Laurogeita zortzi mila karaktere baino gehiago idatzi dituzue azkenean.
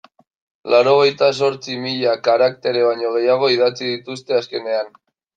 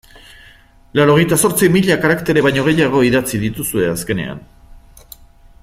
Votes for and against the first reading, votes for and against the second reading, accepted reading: 0, 2, 2, 0, second